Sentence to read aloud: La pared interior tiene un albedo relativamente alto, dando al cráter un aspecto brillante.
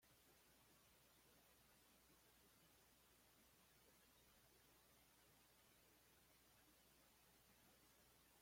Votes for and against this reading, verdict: 1, 2, rejected